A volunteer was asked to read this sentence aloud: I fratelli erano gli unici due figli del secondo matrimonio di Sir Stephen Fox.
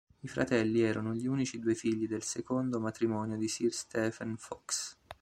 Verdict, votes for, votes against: accepted, 2, 0